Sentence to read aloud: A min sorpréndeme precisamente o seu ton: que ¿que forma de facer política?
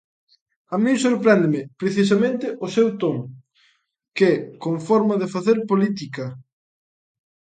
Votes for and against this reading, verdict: 0, 2, rejected